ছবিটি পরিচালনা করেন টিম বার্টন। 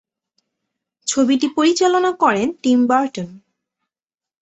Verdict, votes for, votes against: accepted, 2, 0